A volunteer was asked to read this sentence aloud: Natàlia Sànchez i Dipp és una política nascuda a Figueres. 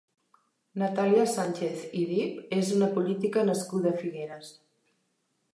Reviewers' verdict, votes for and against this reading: accepted, 3, 0